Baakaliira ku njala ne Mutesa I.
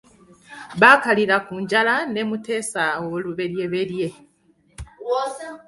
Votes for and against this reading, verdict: 2, 0, accepted